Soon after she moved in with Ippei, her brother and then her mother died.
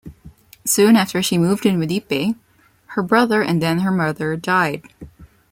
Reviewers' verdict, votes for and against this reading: accepted, 2, 0